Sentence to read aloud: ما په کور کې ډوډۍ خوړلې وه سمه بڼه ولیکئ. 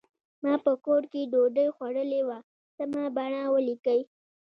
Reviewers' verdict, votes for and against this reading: accepted, 2, 0